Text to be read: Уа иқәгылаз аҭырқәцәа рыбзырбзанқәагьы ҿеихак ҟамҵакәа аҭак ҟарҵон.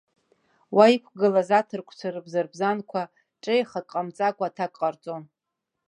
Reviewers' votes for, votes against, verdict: 1, 3, rejected